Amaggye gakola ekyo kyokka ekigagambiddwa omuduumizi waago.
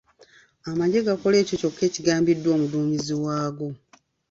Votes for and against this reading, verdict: 2, 0, accepted